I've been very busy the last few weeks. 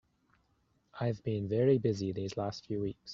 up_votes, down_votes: 1, 2